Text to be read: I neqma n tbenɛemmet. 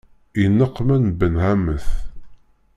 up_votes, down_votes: 1, 2